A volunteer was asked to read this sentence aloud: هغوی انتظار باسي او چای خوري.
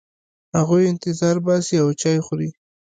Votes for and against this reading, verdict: 1, 2, rejected